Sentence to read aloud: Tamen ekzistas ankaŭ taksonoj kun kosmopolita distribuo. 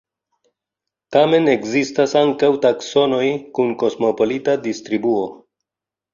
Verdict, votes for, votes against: rejected, 1, 2